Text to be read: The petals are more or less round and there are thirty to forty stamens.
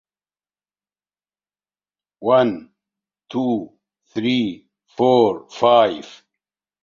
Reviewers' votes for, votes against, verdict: 0, 2, rejected